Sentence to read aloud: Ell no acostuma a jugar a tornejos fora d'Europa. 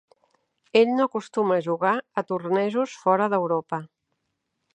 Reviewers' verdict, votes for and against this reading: accepted, 2, 0